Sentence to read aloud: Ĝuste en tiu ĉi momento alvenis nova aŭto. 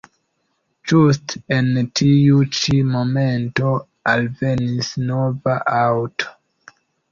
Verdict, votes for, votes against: accepted, 2, 1